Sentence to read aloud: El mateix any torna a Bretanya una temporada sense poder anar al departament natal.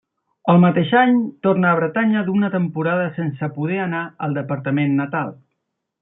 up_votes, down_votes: 1, 2